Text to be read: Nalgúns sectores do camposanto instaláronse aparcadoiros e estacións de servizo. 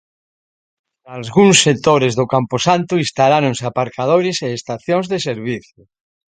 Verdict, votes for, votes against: rejected, 1, 2